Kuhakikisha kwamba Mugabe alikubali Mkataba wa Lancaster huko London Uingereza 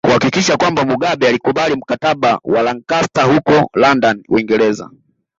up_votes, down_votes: 2, 0